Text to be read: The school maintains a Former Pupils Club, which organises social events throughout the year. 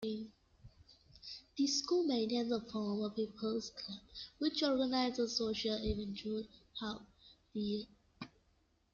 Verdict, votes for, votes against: accepted, 2, 0